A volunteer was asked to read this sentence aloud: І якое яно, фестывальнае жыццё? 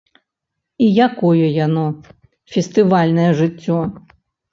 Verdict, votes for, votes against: accepted, 3, 0